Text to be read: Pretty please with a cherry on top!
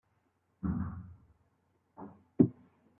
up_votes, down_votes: 0, 2